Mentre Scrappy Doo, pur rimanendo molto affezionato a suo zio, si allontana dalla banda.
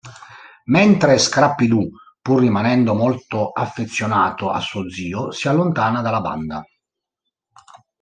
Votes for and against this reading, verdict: 3, 0, accepted